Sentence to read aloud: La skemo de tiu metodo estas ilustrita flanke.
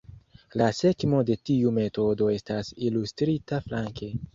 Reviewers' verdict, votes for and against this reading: accepted, 2, 0